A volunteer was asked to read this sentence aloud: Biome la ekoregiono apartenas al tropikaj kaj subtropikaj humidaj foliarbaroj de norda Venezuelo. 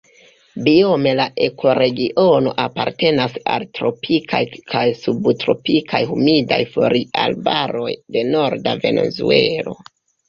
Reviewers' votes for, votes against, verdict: 0, 2, rejected